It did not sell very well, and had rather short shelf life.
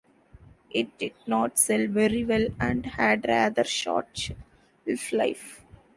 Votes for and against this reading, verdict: 1, 2, rejected